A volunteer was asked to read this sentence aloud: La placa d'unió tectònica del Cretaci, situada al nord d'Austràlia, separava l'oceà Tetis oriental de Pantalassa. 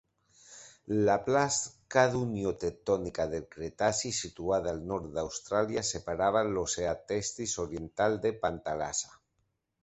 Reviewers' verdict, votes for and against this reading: rejected, 0, 2